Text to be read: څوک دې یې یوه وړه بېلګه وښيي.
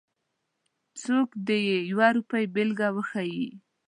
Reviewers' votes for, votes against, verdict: 1, 2, rejected